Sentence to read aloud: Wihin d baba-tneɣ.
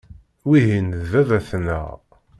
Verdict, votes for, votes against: accepted, 2, 0